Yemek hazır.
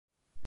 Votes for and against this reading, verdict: 0, 2, rejected